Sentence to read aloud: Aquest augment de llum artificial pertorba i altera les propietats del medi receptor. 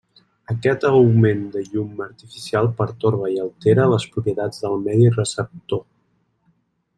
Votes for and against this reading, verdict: 3, 0, accepted